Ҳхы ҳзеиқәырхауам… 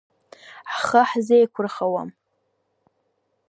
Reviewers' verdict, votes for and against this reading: accepted, 2, 0